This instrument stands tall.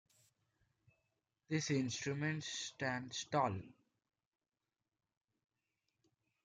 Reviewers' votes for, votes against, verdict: 2, 0, accepted